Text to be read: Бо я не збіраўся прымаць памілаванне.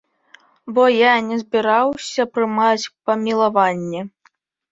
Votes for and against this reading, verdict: 2, 0, accepted